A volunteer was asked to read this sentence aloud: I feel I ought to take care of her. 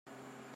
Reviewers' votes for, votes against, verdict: 0, 2, rejected